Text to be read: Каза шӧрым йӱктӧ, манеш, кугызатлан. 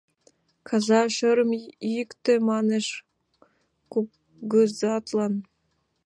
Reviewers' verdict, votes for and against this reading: rejected, 0, 2